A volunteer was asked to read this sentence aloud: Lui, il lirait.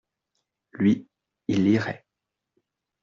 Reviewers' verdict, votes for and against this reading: accepted, 2, 0